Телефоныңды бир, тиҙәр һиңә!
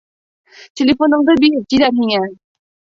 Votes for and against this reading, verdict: 0, 2, rejected